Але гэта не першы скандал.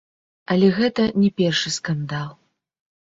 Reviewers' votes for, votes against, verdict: 0, 2, rejected